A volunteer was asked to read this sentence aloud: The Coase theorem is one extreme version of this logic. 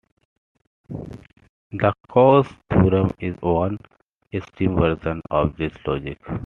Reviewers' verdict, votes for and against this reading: rejected, 0, 2